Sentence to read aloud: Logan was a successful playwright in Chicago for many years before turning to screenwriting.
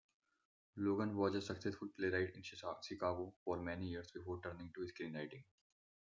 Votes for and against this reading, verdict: 0, 2, rejected